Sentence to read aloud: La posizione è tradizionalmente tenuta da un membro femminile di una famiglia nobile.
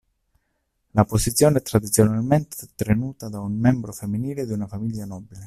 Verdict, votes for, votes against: rejected, 1, 2